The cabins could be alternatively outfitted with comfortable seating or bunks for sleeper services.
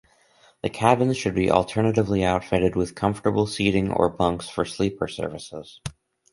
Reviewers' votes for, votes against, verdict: 2, 2, rejected